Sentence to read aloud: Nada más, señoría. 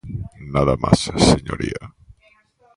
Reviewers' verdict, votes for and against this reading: rejected, 0, 2